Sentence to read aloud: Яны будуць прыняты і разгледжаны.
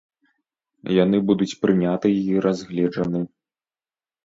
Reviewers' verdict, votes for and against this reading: accepted, 2, 0